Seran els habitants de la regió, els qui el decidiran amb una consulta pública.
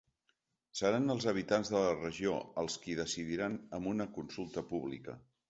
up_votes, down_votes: 1, 2